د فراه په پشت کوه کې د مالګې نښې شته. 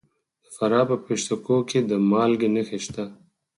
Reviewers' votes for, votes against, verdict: 2, 4, rejected